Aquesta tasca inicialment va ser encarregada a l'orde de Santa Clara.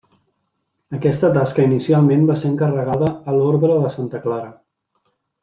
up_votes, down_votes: 1, 2